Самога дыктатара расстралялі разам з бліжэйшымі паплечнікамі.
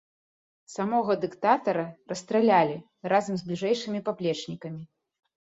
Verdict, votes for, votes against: accepted, 2, 0